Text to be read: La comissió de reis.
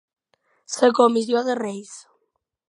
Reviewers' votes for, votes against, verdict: 1, 2, rejected